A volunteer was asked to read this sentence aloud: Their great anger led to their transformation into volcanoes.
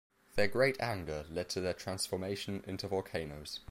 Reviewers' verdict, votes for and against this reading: accepted, 2, 0